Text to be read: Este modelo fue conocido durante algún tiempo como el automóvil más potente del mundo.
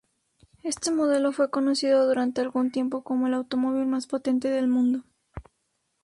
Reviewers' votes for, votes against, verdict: 2, 0, accepted